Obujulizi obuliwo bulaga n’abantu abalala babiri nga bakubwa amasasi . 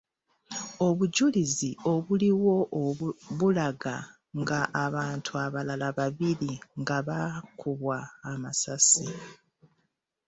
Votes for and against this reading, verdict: 1, 2, rejected